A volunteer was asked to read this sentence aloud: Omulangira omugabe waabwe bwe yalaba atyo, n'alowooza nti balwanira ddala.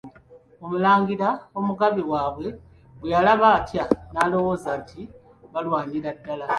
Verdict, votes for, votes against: rejected, 0, 2